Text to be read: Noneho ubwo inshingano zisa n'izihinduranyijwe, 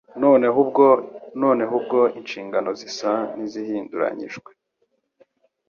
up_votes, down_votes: 0, 2